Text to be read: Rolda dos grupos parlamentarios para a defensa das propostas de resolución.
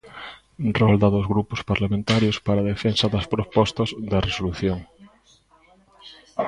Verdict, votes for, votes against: accepted, 2, 1